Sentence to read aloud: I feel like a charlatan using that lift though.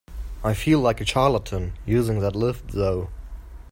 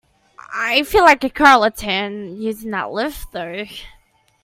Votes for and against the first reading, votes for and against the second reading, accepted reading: 2, 0, 0, 2, first